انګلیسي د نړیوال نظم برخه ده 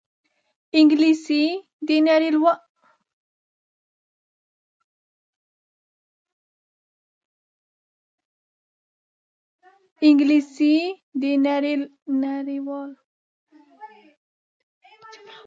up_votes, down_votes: 0, 3